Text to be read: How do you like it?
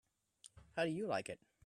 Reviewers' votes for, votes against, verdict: 2, 1, accepted